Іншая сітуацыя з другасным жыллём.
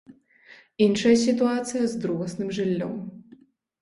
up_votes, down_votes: 2, 0